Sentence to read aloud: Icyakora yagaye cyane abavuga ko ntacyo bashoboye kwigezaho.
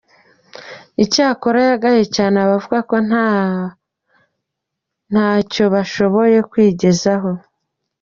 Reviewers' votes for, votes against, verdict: 0, 2, rejected